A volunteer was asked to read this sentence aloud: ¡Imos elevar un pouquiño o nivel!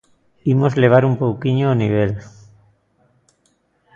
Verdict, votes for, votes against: rejected, 1, 2